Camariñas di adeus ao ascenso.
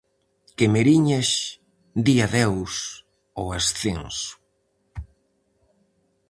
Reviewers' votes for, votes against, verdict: 0, 4, rejected